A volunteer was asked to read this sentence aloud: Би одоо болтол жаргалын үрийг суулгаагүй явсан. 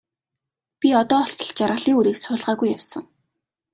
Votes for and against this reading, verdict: 2, 0, accepted